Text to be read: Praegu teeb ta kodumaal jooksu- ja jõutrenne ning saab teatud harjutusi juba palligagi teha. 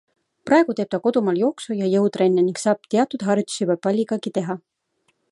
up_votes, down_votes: 2, 0